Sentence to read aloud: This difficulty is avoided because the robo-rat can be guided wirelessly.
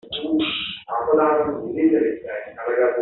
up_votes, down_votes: 0, 3